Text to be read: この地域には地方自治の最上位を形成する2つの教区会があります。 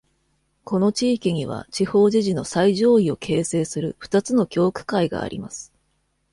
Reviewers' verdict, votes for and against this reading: rejected, 0, 2